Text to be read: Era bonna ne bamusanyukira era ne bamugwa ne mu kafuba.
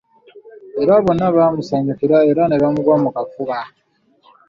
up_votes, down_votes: 1, 2